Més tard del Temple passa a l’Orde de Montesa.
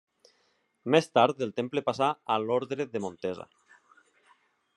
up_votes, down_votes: 2, 0